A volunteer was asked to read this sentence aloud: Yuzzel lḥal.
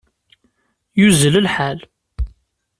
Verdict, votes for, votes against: accepted, 2, 0